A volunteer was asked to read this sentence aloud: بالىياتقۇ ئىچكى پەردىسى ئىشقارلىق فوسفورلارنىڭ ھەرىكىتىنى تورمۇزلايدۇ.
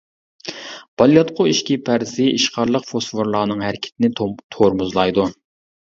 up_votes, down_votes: 0, 2